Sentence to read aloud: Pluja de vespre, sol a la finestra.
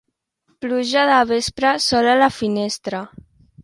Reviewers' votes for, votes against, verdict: 2, 0, accepted